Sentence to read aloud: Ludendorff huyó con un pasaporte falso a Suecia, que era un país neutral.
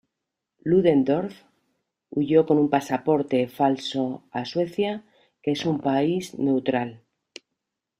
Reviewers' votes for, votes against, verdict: 0, 2, rejected